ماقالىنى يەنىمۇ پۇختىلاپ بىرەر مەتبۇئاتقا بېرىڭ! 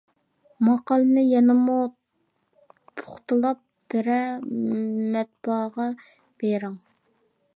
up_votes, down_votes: 0, 2